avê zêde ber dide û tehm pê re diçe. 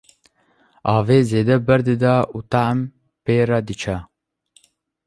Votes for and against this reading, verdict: 1, 2, rejected